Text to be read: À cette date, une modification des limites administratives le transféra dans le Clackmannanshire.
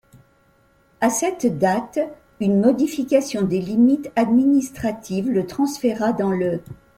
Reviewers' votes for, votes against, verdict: 0, 2, rejected